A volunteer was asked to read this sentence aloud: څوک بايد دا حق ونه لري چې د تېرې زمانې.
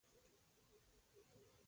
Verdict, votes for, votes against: accepted, 2, 1